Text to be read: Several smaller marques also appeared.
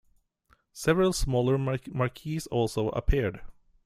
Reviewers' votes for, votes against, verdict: 0, 2, rejected